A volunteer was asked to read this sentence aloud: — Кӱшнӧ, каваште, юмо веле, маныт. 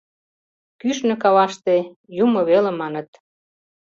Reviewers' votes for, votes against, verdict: 3, 0, accepted